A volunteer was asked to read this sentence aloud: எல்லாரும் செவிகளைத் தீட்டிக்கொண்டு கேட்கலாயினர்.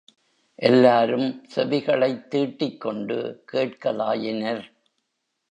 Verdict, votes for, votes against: accepted, 2, 0